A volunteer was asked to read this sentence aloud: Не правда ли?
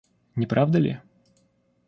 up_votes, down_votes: 2, 0